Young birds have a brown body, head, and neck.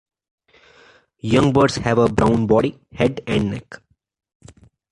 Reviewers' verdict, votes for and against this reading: accepted, 2, 1